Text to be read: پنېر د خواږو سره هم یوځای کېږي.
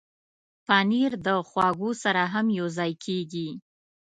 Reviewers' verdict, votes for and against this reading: accepted, 2, 0